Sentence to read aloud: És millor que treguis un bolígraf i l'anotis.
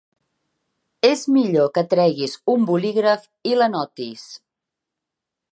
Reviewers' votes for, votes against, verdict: 0, 2, rejected